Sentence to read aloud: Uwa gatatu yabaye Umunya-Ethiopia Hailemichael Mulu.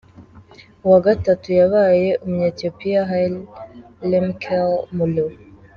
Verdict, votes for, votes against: rejected, 1, 2